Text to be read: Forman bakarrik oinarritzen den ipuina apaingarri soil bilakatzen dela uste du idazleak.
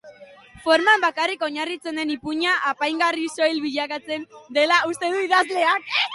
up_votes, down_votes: 2, 2